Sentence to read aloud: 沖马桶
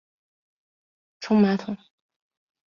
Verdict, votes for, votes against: rejected, 1, 2